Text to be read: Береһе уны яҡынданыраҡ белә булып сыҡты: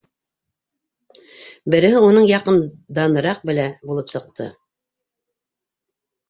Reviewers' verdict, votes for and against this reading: rejected, 0, 2